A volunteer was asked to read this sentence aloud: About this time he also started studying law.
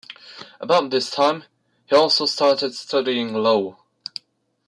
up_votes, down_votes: 2, 0